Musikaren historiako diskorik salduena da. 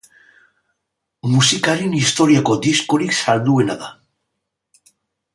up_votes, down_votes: 3, 0